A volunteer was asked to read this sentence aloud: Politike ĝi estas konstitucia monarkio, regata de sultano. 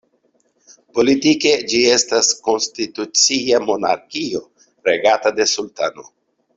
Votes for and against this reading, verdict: 2, 0, accepted